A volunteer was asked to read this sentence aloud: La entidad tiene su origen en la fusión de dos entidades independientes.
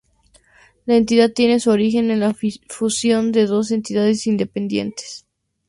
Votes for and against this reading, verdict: 2, 0, accepted